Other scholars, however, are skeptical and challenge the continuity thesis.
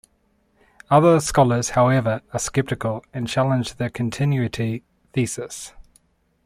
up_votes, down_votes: 2, 0